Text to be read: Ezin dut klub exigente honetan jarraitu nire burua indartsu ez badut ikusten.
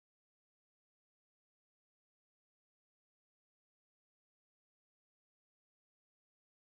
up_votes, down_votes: 0, 6